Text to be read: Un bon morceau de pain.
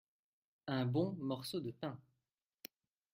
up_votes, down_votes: 2, 0